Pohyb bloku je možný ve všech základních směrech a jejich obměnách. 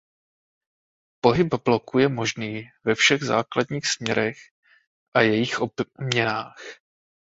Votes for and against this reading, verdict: 2, 0, accepted